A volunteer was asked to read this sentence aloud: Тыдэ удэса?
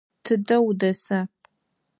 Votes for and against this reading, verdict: 4, 0, accepted